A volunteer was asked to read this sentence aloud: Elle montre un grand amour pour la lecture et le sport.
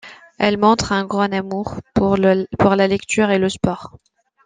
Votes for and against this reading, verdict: 0, 2, rejected